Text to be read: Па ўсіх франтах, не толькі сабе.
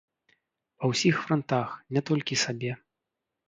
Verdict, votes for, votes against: rejected, 1, 2